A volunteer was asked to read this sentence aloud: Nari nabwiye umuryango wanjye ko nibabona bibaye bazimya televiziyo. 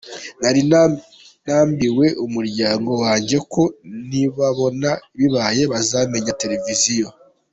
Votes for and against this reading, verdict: 0, 2, rejected